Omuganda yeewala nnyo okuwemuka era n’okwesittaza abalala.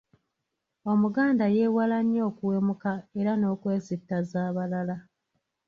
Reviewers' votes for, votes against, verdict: 1, 2, rejected